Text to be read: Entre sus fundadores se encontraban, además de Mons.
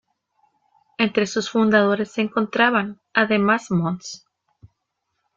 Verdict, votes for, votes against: rejected, 1, 2